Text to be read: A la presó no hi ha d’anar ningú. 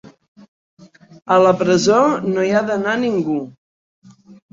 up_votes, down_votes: 3, 0